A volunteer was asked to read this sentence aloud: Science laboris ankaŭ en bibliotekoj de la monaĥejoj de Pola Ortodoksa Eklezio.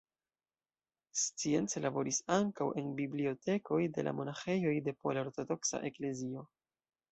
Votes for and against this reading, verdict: 1, 2, rejected